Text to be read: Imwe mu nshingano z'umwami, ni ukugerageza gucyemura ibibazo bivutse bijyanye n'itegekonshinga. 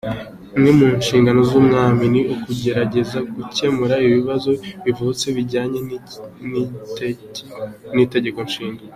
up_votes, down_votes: 0, 2